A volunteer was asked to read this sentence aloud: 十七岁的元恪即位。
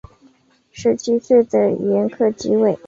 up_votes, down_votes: 2, 0